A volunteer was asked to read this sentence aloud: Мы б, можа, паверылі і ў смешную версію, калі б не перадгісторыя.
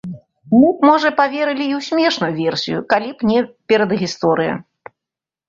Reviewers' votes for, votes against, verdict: 0, 2, rejected